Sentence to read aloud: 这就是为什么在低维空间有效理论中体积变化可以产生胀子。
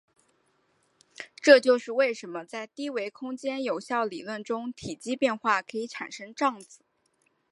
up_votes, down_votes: 4, 1